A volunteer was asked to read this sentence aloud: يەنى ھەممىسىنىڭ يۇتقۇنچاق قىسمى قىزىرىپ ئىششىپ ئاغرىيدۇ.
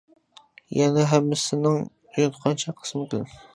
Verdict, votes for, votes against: rejected, 0, 2